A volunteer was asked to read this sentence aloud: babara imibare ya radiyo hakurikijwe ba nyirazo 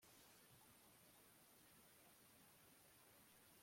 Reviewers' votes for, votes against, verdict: 0, 2, rejected